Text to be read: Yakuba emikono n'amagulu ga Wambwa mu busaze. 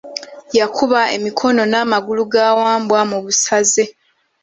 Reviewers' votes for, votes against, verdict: 2, 0, accepted